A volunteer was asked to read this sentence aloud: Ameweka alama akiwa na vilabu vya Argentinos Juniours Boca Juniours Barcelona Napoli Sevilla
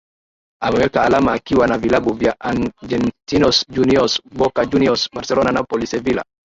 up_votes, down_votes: 2, 0